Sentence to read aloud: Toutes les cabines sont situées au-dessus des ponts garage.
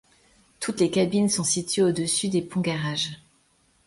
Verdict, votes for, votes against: accepted, 2, 0